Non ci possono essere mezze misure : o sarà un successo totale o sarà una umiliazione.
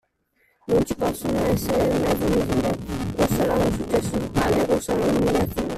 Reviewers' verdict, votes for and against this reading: rejected, 1, 2